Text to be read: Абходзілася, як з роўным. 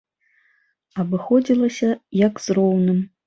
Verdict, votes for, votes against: rejected, 0, 2